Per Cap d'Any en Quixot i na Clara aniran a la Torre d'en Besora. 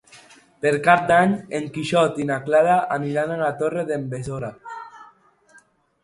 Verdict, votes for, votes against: accepted, 2, 0